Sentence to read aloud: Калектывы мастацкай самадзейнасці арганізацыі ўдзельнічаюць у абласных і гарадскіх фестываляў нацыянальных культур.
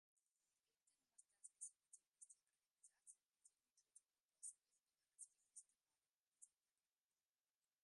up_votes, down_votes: 0, 2